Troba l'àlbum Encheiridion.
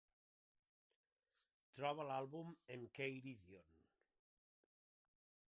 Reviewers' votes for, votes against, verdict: 2, 3, rejected